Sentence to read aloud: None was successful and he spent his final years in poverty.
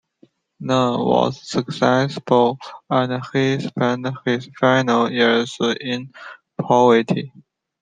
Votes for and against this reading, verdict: 0, 2, rejected